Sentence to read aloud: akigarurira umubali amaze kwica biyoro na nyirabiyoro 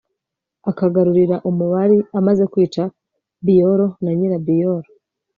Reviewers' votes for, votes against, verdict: 0, 2, rejected